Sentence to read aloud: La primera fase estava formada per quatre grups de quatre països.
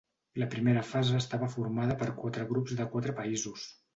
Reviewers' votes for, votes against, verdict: 2, 0, accepted